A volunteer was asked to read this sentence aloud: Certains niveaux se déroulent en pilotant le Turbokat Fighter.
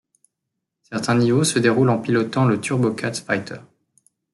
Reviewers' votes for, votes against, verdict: 2, 0, accepted